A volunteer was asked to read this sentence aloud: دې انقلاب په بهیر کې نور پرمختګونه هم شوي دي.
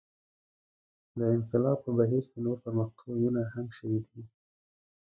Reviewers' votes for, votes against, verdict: 1, 2, rejected